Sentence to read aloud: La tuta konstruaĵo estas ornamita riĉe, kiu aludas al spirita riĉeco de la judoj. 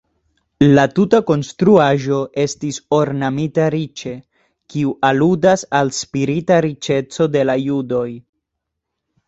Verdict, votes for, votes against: accepted, 2, 0